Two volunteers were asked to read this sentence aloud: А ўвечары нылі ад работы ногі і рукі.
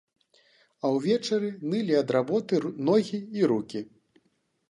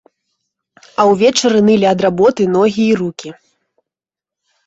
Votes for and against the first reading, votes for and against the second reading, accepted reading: 1, 2, 2, 0, second